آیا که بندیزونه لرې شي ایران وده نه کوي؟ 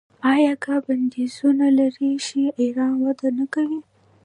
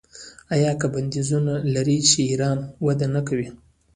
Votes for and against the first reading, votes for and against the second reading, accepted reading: 2, 1, 1, 2, first